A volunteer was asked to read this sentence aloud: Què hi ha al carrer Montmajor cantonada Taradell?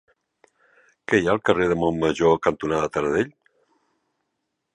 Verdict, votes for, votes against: rejected, 0, 2